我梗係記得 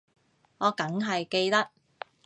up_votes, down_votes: 2, 0